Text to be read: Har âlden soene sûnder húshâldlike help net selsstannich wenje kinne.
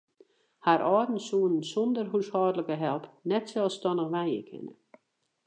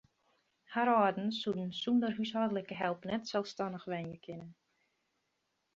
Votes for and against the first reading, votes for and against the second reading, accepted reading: 0, 2, 2, 0, second